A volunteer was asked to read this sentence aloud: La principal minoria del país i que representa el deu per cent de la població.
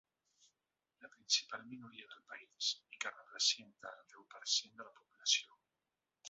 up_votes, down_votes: 1, 4